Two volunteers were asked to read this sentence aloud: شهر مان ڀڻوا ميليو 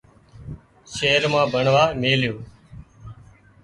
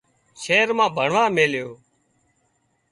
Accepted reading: second